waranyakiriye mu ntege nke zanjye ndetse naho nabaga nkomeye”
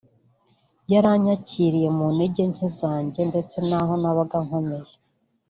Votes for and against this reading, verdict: 3, 2, accepted